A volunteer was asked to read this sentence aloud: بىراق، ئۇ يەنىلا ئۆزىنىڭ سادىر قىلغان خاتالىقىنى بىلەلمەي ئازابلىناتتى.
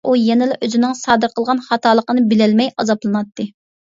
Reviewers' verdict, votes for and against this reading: rejected, 0, 2